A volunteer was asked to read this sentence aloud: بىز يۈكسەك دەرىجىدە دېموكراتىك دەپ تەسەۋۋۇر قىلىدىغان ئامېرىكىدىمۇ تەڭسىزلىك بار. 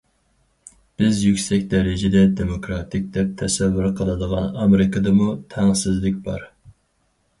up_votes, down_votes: 4, 0